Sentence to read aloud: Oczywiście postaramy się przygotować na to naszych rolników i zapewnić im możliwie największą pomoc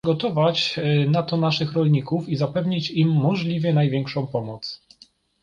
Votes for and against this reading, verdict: 0, 2, rejected